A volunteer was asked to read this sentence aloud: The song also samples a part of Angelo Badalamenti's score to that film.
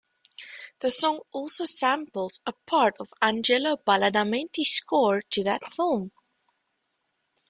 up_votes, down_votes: 2, 1